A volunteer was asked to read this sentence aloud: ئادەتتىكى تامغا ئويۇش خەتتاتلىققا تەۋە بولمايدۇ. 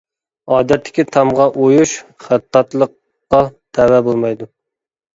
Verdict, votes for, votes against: accepted, 2, 0